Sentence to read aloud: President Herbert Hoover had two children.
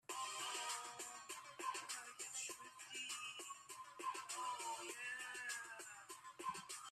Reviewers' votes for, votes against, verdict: 0, 2, rejected